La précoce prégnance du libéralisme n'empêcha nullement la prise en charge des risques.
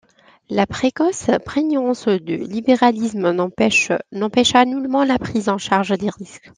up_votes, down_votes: 0, 2